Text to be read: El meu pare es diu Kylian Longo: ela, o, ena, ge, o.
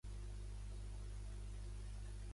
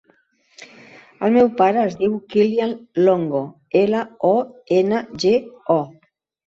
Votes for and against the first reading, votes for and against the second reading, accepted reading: 0, 2, 3, 0, second